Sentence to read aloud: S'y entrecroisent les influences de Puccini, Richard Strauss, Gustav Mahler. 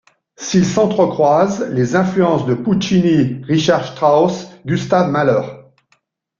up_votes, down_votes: 2, 1